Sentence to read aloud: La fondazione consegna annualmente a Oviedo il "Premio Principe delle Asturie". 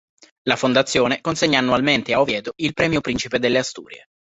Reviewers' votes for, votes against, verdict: 2, 0, accepted